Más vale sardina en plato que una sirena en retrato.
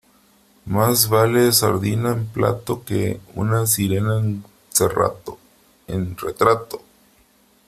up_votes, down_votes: 0, 2